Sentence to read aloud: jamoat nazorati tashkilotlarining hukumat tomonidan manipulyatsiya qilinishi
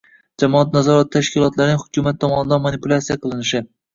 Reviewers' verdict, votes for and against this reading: rejected, 1, 2